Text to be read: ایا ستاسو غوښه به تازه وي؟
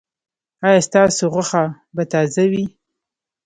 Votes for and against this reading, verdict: 1, 2, rejected